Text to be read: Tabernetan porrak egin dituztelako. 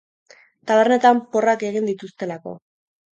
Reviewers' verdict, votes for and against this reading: accepted, 2, 0